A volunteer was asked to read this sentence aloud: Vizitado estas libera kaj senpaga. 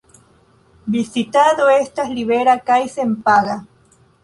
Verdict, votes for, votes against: accepted, 3, 0